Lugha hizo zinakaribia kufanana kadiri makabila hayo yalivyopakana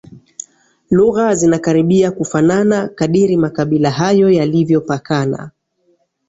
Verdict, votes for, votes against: rejected, 2, 3